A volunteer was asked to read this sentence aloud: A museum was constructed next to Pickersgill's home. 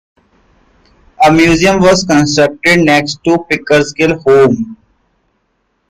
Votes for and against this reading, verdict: 1, 2, rejected